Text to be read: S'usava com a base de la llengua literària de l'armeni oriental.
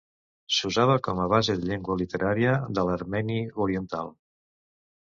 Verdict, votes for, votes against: rejected, 1, 2